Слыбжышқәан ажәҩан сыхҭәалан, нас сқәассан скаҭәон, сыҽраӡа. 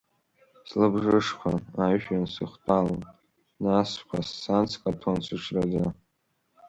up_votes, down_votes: 2, 1